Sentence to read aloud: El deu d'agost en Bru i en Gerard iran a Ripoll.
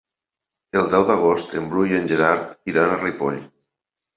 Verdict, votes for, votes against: accepted, 2, 0